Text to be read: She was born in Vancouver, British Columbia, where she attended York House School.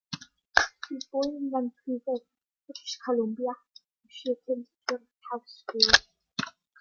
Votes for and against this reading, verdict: 1, 2, rejected